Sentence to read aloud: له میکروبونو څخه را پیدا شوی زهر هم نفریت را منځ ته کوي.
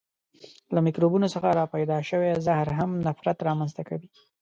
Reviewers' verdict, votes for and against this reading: rejected, 1, 2